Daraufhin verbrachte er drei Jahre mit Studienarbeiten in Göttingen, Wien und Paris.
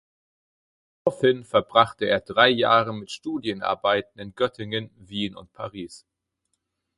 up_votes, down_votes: 0, 4